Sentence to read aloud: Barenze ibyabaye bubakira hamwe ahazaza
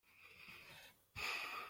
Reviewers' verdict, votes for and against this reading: rejected, 0, 2